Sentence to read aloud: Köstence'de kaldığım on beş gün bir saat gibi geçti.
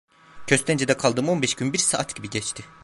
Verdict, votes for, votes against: accepted, 2, 1